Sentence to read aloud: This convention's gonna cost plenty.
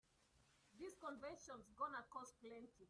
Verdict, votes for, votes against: accepted, 3, 0